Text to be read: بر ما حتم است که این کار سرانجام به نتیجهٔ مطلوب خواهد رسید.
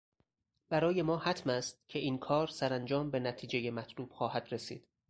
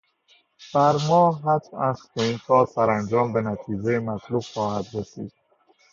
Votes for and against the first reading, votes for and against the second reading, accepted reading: 0, 4, 2, 0, second